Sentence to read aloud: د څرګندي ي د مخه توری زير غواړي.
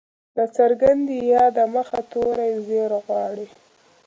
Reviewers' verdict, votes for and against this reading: rejected, 1, 2